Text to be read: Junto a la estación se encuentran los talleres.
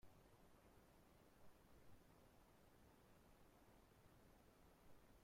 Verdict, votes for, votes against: rejected, 0, 2